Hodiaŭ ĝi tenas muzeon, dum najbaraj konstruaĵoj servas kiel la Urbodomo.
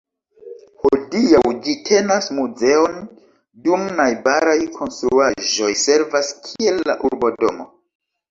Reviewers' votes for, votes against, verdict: 1, 2, rejected